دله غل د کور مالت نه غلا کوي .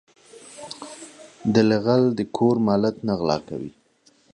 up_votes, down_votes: 2, 1